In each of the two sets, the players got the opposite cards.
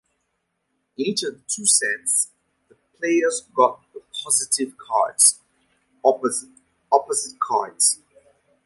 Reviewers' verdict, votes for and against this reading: rejected, 0, 2